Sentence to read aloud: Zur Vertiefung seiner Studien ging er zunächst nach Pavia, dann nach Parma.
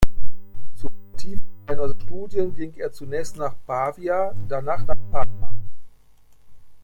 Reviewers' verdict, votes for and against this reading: rejected, 0, 2